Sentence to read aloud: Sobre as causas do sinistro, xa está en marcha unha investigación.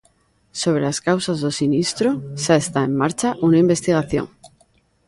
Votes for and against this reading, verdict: 1, 2, rejected